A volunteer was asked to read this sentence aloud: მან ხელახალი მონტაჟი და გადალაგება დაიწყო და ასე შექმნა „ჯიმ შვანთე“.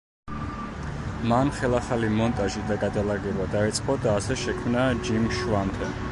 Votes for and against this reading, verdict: 1, 2, rejected